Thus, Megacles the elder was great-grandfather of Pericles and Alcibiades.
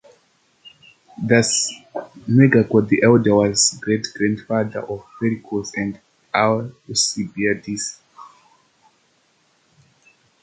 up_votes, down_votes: 0, 2